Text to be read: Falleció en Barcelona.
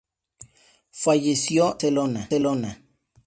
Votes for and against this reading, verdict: 0, 4, rejected